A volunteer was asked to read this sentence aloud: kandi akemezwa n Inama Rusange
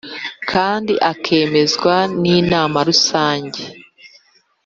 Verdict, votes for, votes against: accepted, 2, 0